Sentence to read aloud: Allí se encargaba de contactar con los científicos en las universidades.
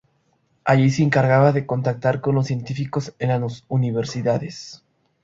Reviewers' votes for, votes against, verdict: 0, 2, rejected